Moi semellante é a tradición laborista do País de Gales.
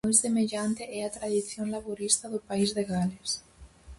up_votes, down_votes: 4, 0